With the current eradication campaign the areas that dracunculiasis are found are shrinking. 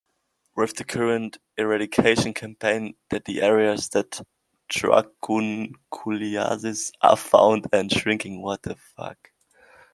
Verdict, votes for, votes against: rejected, 1, 2